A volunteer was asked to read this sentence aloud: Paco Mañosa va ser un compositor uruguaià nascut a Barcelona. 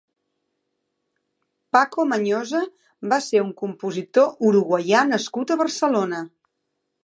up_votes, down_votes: 3, 0